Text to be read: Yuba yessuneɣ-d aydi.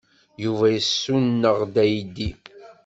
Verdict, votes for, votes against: accepted, 2, 1